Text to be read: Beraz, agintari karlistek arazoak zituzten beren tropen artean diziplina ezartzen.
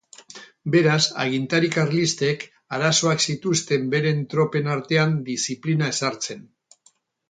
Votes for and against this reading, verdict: 6, 0, accepted